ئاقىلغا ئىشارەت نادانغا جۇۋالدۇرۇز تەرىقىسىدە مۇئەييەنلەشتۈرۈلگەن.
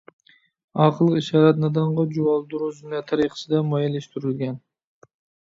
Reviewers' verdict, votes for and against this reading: rejected, 1, 2